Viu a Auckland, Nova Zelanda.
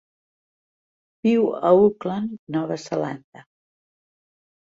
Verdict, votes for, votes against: accepted, 3, 0